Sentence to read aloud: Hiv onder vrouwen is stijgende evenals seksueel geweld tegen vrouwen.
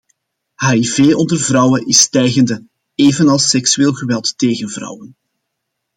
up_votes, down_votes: 2, 0